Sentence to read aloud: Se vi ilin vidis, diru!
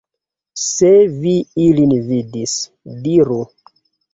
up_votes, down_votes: 2, 0